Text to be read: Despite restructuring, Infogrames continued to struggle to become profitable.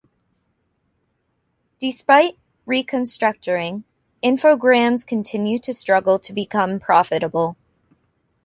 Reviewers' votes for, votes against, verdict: 0, 2, rejected